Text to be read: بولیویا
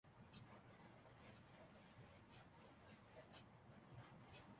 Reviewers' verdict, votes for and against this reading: rejected, 0, 2